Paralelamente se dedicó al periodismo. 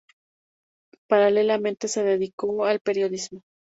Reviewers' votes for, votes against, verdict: 2, 0, accepted